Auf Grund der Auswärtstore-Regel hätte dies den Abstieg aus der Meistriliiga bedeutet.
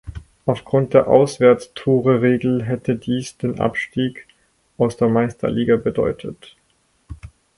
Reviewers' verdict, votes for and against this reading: rejected, 2, 4